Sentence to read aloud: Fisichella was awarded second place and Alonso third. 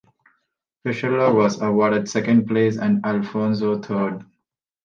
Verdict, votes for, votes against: rejected, 0, 2